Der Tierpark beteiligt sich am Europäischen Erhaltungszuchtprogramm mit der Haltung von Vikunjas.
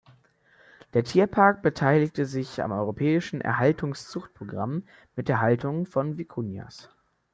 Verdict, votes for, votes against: rejected, 1, 2